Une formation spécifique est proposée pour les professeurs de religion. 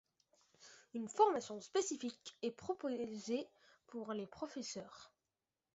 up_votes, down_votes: 0, 2